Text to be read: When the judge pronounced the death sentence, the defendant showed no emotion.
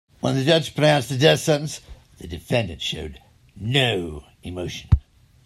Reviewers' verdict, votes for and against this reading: accepted, 2, 0